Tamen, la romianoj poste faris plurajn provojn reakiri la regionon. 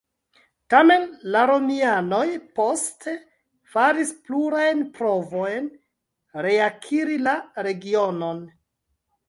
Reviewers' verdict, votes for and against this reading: accepted, 2, 0